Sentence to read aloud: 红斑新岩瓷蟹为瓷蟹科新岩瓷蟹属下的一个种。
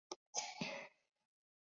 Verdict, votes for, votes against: rejected, 0, 3